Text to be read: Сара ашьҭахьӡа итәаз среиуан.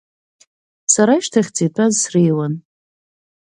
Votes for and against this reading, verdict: 3, 0, accepted